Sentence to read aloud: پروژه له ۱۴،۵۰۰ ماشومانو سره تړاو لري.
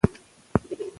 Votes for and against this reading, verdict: 0, 2, rejected